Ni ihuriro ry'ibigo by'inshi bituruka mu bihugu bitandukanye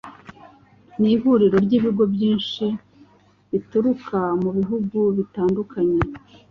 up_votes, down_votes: 2, 0